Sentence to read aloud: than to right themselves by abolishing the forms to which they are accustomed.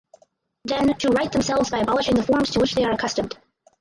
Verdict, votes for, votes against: rejected, 0, 4